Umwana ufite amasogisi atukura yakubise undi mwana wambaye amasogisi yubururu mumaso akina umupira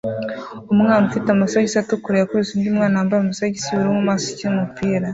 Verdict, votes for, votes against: rejected, 1, 2